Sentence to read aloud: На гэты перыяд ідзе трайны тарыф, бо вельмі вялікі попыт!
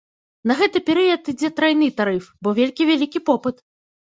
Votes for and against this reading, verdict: 0, 2, rejected